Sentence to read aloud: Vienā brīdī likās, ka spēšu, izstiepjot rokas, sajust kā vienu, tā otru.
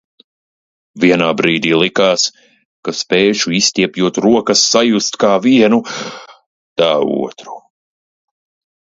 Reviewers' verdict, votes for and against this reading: accepted, 2, 0